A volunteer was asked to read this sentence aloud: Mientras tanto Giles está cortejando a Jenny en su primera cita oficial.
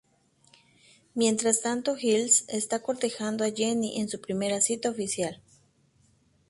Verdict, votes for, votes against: accepted, 2, 0